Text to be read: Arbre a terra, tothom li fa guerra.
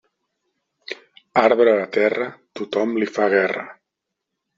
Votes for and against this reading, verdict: 3, 0, accepted